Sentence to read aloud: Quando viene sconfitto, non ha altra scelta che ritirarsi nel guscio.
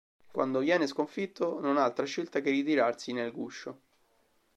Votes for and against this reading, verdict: 2, 0, accepted